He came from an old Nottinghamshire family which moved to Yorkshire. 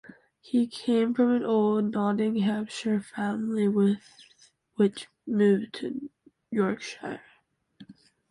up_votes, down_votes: 0, 2